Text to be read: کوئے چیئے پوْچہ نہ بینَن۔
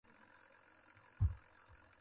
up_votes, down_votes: 0, 2